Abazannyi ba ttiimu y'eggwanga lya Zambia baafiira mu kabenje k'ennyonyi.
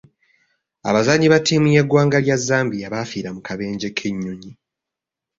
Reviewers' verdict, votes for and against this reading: accepted, 2, 0